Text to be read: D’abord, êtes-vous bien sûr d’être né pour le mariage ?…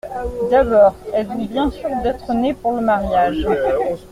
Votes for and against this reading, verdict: 2, 1, accepted